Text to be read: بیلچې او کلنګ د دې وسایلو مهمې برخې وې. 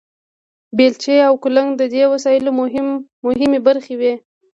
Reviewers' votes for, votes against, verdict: 2, 0, accepted